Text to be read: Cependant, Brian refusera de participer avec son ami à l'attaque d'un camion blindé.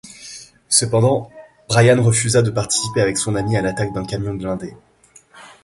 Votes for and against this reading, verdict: 0, 2, rejected